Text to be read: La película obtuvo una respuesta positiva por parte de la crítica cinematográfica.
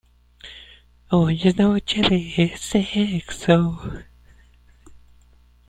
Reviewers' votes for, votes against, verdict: 0, 2, rejected